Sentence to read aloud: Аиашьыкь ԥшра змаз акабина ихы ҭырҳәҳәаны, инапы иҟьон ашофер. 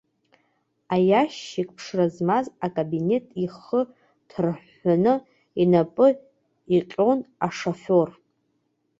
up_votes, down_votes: 2, 1